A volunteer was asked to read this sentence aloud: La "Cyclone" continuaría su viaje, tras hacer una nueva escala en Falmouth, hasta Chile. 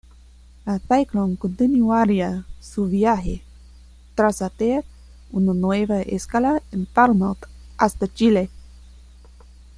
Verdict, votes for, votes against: accepted, 2, 1